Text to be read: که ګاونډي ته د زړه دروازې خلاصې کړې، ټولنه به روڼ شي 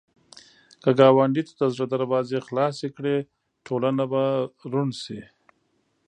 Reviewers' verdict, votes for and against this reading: accepted, 2, 0